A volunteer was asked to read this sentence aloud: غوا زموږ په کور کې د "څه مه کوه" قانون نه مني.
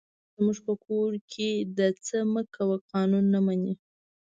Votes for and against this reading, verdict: 1, 2, rejected